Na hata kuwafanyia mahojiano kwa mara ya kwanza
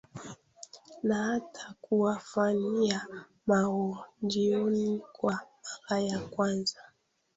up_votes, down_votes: 1, 2